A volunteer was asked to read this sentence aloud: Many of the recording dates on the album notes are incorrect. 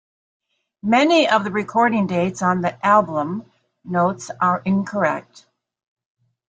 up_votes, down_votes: 2, 0